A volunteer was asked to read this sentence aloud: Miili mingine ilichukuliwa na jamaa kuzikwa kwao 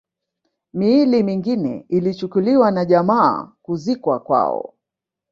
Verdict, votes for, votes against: accepted, 2, 1